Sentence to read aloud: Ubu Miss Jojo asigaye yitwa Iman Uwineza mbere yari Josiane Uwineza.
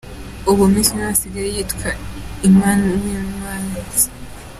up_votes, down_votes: 0, 2